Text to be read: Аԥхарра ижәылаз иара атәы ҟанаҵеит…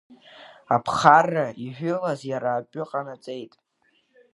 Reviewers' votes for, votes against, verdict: 1, 2, rejected